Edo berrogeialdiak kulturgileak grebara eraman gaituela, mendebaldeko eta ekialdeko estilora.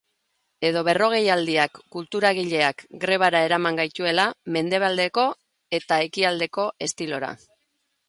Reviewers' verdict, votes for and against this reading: rejected, 1, 2